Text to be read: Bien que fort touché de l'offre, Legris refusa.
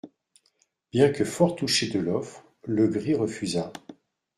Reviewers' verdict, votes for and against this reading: accepted, 2, 0